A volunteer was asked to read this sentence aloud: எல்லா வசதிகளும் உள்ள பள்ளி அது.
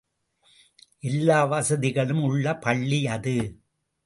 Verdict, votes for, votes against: accepted, 2, 0